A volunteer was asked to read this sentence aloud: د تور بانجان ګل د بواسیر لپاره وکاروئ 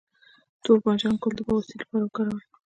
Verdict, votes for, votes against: rejected, 1, 2